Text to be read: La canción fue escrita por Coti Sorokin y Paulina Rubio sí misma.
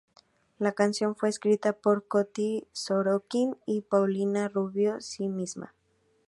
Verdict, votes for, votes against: rejected, 2, 2